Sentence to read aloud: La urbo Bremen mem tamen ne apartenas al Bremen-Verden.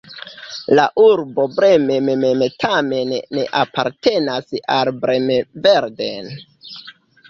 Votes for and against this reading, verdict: 1, 2, rejected